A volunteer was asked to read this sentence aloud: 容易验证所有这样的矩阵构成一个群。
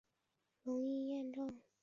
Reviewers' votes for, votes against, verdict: 1, 2, rejected